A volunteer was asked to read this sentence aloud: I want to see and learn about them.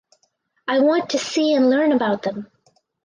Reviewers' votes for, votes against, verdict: 4, 0, accepted